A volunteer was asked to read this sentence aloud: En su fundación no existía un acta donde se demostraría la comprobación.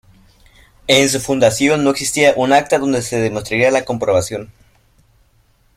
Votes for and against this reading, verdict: 1, 2, rejected